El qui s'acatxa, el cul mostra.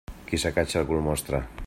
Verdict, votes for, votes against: rejected, 1, 2